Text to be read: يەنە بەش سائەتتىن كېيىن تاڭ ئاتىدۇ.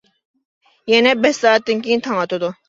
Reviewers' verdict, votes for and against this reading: accepted, 2, 0